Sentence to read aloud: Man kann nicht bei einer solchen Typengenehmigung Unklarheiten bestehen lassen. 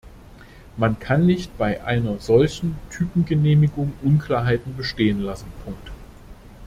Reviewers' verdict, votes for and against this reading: rejected, 0, 2